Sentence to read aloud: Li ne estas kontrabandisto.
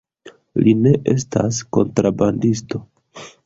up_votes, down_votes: 1, 2